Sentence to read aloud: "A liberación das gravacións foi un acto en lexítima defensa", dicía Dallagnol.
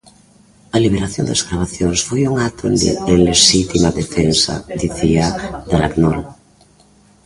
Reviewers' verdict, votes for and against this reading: rejected, 0, 2